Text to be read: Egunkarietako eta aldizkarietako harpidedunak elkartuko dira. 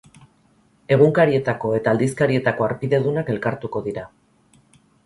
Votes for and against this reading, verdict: 2, 0, accepted